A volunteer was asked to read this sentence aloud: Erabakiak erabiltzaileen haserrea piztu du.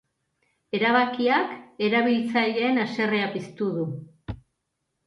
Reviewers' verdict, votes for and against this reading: accepted, 3, 0